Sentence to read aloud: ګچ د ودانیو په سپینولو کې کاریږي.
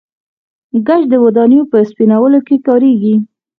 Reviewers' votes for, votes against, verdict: 4, 0, accepted